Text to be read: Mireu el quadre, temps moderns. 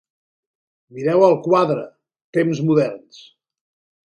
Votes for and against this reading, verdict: 3, 0, accepted